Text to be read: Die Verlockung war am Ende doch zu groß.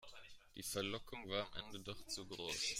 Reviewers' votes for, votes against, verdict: 0, 2, rejected